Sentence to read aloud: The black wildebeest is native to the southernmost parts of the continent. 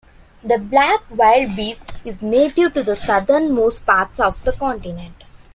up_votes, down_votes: 1, 2